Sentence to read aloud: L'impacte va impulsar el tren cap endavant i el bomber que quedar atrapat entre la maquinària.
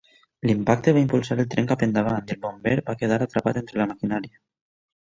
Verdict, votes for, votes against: accepted, 2, 1